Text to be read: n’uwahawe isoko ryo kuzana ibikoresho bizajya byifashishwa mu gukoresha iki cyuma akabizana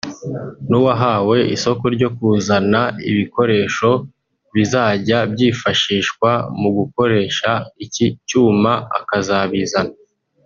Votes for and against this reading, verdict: 0, 2, rejected